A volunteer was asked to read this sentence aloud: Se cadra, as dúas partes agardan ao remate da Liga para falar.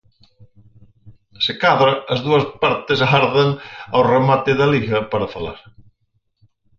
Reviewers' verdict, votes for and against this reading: rejected, 2, 2